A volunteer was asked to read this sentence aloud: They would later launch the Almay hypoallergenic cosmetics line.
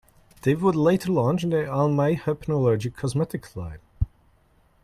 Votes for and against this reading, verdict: 2, 1, accepted